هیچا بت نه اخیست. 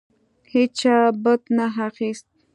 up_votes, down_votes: 2, 0